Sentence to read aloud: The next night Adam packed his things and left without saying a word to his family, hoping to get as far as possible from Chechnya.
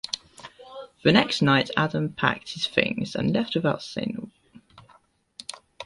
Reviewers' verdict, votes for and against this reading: rejected, 0, 2